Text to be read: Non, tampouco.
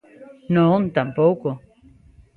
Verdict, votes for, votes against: accepted, 2, 0